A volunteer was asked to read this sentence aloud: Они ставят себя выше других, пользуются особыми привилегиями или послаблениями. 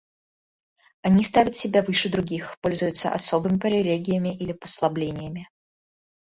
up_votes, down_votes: 1, 2